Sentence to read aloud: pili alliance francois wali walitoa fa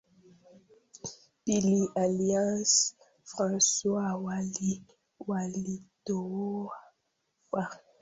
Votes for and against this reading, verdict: 0, 2, rejected